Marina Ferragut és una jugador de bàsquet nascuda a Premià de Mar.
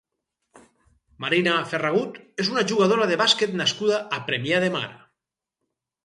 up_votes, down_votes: 2, 4